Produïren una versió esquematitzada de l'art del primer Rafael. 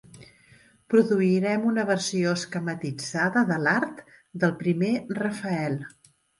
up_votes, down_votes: 0, 2